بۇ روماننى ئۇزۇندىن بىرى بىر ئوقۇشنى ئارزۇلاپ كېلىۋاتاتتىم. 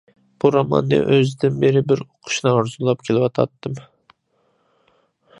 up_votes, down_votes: 0, 2